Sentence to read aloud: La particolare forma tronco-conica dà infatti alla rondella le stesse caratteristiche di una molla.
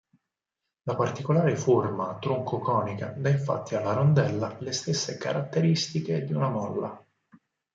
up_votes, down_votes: 4, 0